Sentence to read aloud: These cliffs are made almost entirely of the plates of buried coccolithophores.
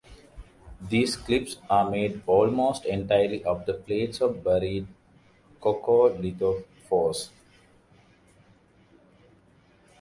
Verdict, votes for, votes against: accepted, 2, 0